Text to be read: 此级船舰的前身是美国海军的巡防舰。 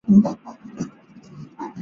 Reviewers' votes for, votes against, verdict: 1, 5, rejected